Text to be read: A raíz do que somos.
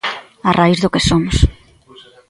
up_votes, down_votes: 2, 1